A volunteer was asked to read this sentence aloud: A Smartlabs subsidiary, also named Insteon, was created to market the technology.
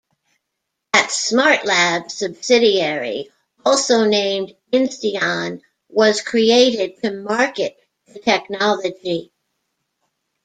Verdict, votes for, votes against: accepted, 2, 0